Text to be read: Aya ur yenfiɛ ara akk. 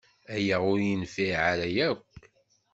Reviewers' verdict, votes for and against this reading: accepted, 2, 0